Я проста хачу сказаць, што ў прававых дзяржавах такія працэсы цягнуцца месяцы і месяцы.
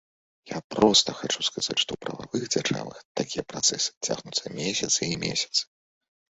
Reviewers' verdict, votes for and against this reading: accepted, 3, 1